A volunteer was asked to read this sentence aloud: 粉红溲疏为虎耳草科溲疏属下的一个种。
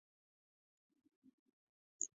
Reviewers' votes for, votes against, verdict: 0, 5, rejected